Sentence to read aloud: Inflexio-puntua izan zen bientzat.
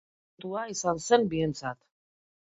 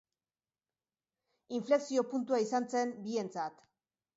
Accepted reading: second